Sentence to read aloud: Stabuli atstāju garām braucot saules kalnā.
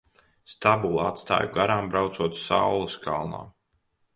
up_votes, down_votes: 2, 0